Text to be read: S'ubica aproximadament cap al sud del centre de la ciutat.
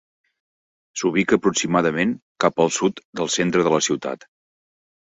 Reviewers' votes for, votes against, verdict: 4, 0, accepted